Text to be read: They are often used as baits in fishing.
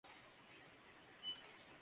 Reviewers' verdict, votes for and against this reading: rejected, 0, 2